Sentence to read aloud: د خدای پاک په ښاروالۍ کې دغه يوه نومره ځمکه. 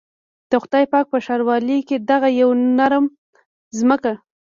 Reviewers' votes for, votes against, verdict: 2, 0, accepted